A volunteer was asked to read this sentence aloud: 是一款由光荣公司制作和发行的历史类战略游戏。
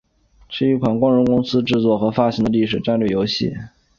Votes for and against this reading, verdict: 6, 0, accepted